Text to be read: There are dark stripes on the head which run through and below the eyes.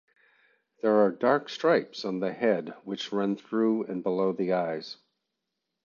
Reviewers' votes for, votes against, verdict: 2, 0, accepted